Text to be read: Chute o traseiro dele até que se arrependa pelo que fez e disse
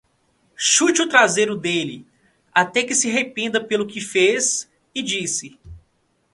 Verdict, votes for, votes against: rejected, 1, 2